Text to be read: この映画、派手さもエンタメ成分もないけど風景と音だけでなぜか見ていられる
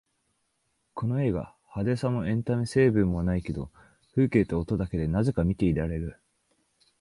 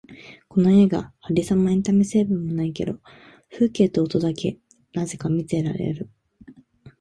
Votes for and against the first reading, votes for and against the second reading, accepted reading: 5, 0, 0, 2, first